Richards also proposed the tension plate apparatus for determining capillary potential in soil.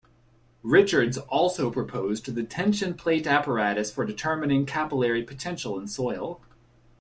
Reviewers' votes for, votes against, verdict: 2, 0, accepted